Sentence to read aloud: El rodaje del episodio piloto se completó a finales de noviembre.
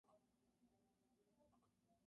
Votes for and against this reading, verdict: 0, 2, rejected